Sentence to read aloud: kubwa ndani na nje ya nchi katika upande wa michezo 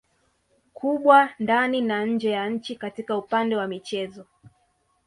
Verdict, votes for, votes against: rejected, 0, 2